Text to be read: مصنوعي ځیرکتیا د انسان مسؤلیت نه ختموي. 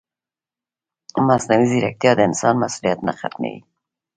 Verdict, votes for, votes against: rejected, 1, 2